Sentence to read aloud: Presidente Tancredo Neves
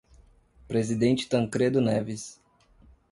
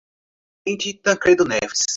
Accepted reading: first